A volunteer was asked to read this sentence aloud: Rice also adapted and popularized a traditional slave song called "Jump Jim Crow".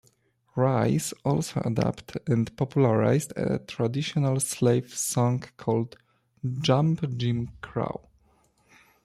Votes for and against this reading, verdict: 0, 2, rejected